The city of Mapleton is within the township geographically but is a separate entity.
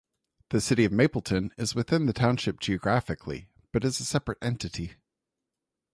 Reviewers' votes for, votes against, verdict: 2, 0, accepted